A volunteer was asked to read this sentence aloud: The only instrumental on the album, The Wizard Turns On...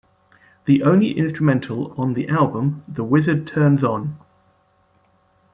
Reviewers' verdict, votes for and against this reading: accepted, 2, 0